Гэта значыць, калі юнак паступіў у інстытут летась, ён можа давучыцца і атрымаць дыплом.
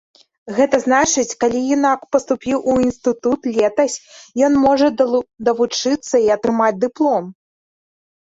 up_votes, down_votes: 0, 2